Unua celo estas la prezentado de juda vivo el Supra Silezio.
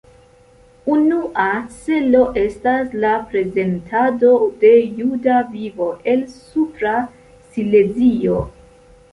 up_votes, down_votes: 2, 0